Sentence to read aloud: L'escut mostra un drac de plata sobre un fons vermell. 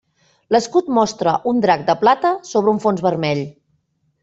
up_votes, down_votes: 3, 0